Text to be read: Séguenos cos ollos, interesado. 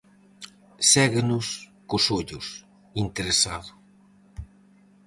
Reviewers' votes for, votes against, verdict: 4, 0, accepted